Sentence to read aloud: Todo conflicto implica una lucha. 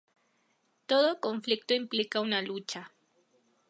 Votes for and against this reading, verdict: 2, 0, accepted